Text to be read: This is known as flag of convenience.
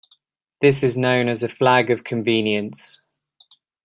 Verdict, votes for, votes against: rejected, 0, 2